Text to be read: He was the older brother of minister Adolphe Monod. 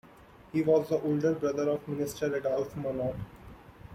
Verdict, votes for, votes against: accepted, 2, 0